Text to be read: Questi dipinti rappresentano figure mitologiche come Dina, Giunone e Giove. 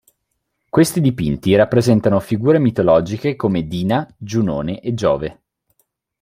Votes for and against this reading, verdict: 2, 0, accepted